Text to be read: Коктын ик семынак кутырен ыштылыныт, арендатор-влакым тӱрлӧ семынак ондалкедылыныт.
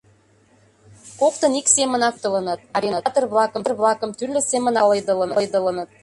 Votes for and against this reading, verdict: 0, 2, rejected